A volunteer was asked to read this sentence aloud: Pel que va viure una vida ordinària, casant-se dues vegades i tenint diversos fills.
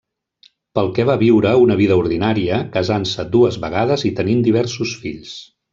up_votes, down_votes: 3, 0